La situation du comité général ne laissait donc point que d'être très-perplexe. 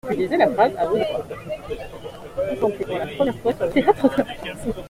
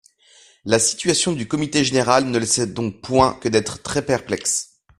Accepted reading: second